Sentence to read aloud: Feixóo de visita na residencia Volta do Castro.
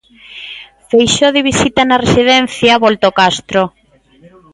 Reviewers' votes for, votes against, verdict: 0, 2, rejected